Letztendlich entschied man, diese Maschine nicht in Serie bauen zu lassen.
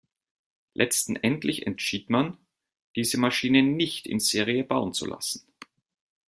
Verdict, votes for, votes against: rejected, 1, 2